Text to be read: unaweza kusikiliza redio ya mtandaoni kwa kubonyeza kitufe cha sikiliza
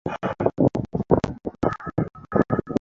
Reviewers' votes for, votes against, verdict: 0, 2, rejected